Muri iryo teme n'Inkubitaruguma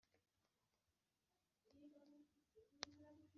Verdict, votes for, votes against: accepted, 2, 1